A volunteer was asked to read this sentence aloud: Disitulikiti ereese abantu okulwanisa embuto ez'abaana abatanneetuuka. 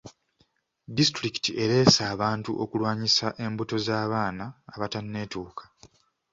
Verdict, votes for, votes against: accepted, 2, 0